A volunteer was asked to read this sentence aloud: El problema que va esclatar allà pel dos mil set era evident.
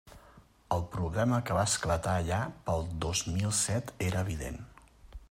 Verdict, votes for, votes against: accepted, 3, 0